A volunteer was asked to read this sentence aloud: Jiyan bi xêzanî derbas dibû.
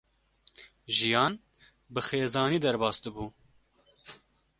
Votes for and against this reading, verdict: 2, 0, accepted